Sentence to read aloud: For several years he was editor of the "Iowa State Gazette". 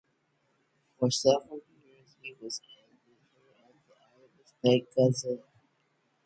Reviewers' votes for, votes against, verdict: 0, 4, rejected